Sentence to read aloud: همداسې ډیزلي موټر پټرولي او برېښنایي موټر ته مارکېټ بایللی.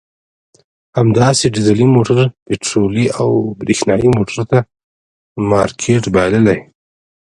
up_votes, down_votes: 2, 0